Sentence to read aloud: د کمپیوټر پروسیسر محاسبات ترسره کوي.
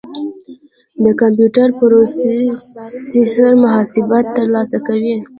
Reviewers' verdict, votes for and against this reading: rejected, 1, 2